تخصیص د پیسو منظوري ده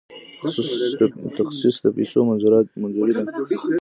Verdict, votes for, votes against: rejected, 1, 2